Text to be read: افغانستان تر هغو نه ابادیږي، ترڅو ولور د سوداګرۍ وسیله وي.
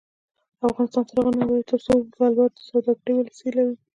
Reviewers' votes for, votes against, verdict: 1, 2, rejected